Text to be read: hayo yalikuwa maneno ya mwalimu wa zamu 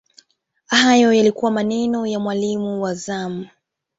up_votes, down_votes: 2, 1